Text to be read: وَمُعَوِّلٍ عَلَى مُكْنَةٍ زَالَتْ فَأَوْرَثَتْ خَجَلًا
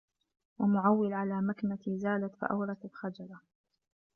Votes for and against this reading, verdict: 1, 2, rejected